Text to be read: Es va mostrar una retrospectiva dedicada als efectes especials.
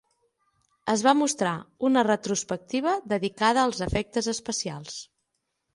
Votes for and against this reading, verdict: 9, 0, accepted